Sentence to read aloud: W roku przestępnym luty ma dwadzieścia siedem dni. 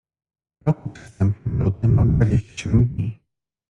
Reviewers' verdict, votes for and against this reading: rejected, 1, 2